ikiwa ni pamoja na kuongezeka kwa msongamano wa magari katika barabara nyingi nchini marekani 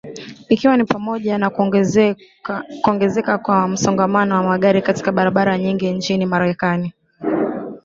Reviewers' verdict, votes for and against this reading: rejected, 0, 2